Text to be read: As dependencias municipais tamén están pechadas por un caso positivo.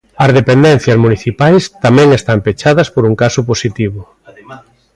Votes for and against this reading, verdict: 0, 2, rejected